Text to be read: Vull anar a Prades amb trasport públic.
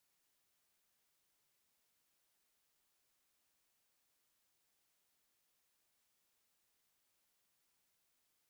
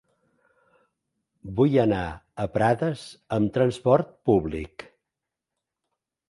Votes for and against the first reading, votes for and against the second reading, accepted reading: 0, 2, 2, 0, second